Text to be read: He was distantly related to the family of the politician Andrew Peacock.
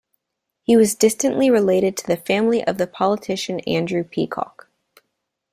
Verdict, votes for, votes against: accepted, 2, 0